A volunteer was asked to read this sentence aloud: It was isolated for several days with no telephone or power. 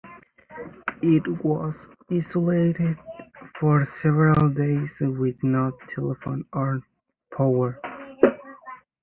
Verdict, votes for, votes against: accepted, 2, 1